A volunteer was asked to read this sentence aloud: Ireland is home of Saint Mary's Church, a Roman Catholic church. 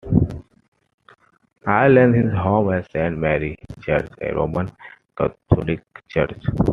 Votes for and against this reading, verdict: 2, 1, accepted